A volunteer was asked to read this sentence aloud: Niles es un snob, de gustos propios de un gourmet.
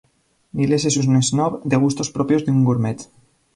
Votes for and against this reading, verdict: 0, 2, rejected